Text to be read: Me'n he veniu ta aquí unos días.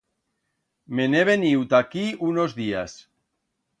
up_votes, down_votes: 2, 0